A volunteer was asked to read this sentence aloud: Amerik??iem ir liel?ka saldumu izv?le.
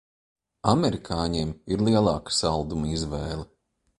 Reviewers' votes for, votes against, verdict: 1, 2, rejected